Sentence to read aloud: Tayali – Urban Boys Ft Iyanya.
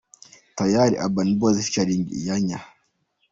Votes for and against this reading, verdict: 2, 1, accepted